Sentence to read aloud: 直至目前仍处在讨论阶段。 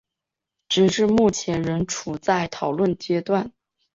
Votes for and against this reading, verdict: 4, 0, accepted